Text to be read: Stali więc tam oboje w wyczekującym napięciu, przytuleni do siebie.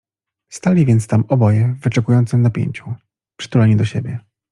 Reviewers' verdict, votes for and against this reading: accepted, 2, 0